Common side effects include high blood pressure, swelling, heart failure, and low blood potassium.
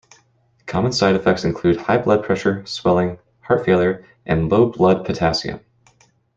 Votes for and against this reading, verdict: 2, 0, accepted